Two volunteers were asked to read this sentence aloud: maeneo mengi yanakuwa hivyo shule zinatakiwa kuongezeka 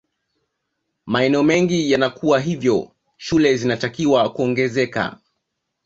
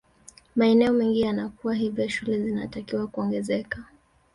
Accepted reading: first